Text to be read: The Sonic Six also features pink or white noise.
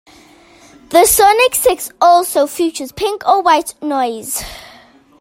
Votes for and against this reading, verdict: 2, 0, accepted